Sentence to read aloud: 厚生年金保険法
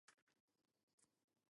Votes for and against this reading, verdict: 1, 2, rejected